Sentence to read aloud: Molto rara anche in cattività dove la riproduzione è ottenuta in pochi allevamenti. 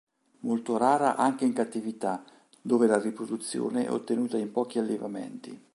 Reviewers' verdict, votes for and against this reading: accepted, 3, 0